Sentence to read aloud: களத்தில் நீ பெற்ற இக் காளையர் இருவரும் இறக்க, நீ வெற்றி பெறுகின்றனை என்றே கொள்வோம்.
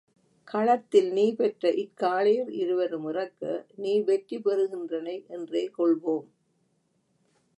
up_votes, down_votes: 2, 0